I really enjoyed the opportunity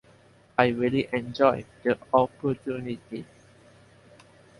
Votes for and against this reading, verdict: 0, 2, rejected